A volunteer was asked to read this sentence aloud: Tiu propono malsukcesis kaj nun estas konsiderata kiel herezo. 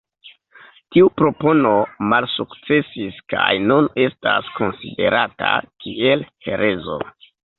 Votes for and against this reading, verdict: 2, 1, accepted